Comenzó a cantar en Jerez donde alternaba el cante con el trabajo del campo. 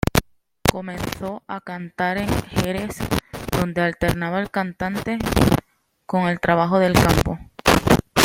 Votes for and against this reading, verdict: 2, 0, accepted